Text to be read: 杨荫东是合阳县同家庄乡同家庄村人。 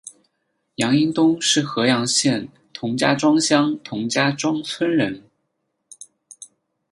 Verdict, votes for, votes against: accepted, 10, 0